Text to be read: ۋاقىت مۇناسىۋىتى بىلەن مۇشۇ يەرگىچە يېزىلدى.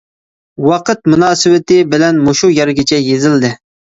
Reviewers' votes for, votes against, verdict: 2, 0, accepted